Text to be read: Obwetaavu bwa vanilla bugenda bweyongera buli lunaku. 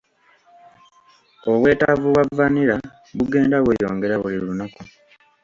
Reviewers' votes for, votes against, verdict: 2, 0, accepted